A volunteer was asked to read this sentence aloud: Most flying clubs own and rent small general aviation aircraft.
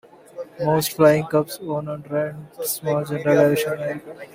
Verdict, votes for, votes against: rejected, 1, 2